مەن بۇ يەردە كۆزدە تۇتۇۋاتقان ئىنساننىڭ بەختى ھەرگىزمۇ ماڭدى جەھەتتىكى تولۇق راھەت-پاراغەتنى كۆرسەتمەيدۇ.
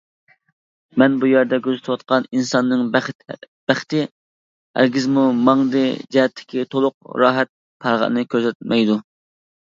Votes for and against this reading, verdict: 1, 2, rejected